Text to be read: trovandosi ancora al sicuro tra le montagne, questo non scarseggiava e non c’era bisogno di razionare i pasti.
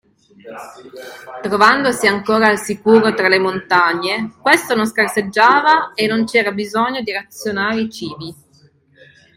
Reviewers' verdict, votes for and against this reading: rejected, 0, 2